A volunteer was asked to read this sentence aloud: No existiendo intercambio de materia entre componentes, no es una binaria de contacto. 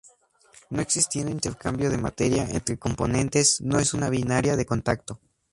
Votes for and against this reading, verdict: 2, 0, accepted